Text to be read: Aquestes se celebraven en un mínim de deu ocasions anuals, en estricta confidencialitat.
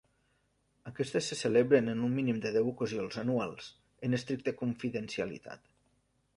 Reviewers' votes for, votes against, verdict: 1, 2, rejected